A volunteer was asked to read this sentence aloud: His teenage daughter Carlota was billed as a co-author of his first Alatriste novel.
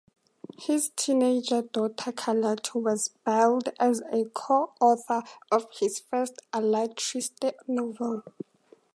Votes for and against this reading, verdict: 4, 0, accepted